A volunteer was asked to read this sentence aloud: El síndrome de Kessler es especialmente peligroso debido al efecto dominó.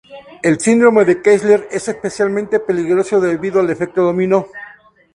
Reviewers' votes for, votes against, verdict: 2, 0, accepted